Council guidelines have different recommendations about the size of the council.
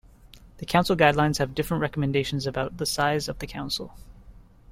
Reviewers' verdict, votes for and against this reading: rejected, 0, 2